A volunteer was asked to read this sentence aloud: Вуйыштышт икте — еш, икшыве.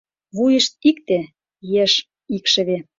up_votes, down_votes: 1, 2